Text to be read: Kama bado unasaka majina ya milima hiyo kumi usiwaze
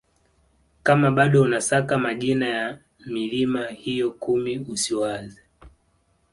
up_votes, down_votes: 2, 0